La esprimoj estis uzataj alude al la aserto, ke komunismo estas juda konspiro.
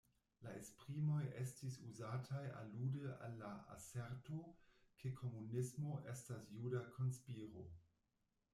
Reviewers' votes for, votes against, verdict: 0, 2, rejected